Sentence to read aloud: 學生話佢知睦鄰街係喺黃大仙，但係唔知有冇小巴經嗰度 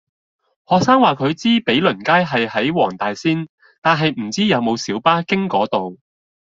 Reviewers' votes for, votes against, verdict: 0, 2, rejected